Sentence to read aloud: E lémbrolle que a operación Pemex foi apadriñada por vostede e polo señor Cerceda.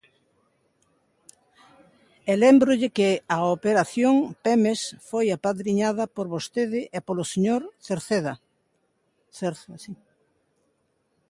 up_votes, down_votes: 0, 2